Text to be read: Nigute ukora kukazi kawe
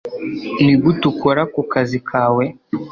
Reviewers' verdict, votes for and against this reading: accepted, 3, 0